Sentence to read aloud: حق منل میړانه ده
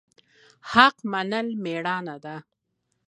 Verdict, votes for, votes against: accepted, 2, 0